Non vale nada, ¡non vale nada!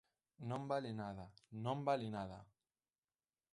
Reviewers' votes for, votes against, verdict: 1, 2, rejected